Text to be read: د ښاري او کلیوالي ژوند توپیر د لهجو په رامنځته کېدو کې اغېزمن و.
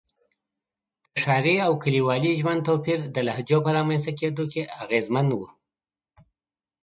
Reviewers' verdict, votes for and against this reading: accepted, 3, 0